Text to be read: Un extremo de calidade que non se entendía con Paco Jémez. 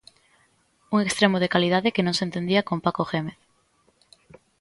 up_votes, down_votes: 2, 0